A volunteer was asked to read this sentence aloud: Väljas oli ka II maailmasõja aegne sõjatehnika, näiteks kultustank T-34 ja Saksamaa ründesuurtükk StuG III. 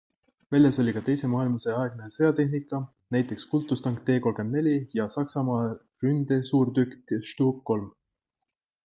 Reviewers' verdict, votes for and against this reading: rejected, 0, 2